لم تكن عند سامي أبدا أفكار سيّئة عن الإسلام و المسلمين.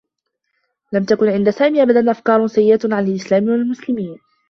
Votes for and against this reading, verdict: 2, 1, accepted